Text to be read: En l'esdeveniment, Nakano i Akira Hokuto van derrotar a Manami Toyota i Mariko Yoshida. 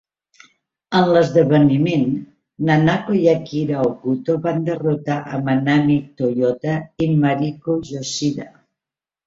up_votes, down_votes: 0, 3